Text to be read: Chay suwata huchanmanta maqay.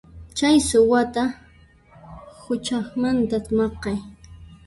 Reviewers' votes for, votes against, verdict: 1, 2, rejected